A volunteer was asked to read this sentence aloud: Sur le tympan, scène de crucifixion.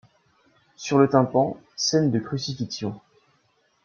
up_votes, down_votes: 2, 0